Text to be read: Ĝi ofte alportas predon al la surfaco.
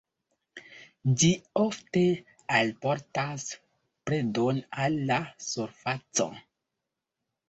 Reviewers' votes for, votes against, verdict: 2, 1, accepted